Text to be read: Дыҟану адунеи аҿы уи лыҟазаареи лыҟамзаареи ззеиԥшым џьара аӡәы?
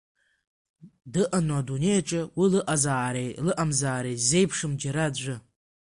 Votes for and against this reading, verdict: 2, 1, accepted